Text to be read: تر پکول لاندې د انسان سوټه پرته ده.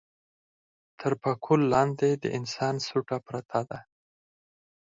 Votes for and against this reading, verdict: 4, 0, accepted